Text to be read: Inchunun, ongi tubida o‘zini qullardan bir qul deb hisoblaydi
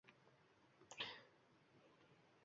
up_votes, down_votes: 1, 2